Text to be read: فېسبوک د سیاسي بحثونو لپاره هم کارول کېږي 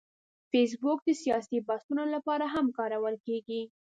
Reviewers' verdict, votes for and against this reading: accepted, 2, 0